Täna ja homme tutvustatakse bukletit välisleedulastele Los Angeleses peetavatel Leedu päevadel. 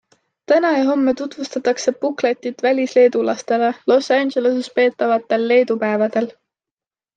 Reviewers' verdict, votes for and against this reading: accepted, 2, 0